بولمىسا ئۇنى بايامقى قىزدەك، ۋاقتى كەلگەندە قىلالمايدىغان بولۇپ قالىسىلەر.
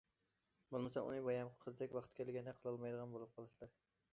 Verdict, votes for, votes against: accepted, 2, 0